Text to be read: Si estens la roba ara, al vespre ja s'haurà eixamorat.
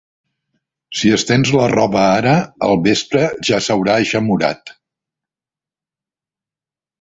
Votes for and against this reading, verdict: 3, 0, accepted